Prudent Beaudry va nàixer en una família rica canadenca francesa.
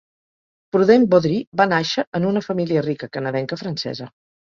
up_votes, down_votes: 2, 0